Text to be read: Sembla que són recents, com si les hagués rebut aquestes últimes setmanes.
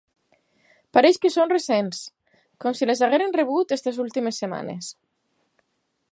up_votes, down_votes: 2, 6